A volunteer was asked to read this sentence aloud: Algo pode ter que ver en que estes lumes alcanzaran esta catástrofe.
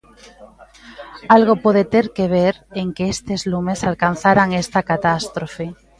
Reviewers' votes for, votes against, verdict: 0, 2, rejected